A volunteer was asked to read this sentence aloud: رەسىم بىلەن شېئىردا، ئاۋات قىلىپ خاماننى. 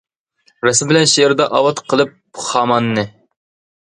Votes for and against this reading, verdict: 2, 0, accepted